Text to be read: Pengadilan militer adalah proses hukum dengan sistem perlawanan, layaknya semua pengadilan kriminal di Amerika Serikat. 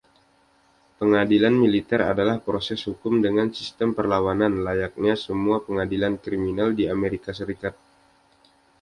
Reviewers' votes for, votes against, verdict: 2, 0, accepted